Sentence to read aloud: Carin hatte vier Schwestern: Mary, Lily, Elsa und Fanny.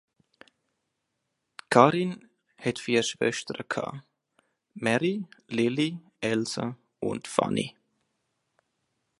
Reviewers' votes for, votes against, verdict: 1, 2, rejected